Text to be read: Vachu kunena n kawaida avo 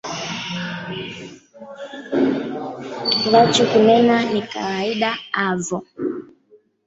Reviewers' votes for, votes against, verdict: 0, 2, rejected